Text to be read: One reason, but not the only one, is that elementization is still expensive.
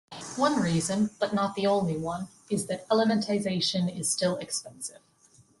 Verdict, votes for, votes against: accepted, 2, 0